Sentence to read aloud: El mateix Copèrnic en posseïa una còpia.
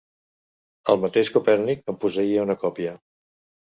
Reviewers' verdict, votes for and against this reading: accepted, 2, 0